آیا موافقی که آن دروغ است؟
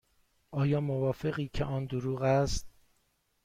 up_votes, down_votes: 2, 0